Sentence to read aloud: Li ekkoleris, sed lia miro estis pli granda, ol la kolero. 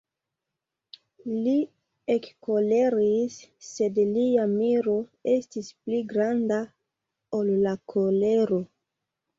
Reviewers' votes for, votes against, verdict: 2, 0, accepted